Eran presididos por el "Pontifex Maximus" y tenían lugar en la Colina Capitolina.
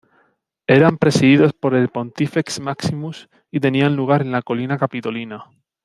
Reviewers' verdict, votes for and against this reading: accepted, 2, 0